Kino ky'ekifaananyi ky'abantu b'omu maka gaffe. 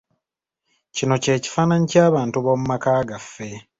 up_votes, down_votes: 2, 1